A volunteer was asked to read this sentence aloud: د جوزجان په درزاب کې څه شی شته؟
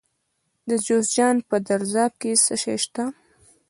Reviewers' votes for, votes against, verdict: 0, 2, rejected